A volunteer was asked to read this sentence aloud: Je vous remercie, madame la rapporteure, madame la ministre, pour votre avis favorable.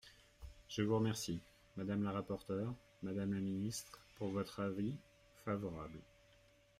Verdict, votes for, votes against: accepted, 2, 0